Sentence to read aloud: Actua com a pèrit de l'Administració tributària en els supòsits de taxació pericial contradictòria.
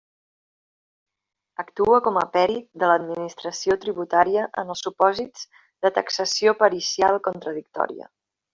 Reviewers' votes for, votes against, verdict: 2, 0, accepted